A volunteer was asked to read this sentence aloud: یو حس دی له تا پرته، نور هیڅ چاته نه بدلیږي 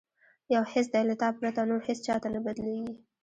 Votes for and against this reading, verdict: 1, 2, rejected